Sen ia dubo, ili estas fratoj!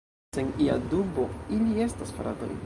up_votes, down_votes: 0, 2